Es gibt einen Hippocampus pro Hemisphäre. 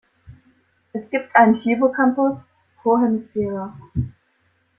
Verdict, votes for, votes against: accepted, 2, 0